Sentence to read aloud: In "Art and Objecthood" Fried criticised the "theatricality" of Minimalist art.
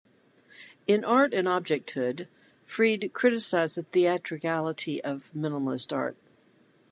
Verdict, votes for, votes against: accepted, 2, 1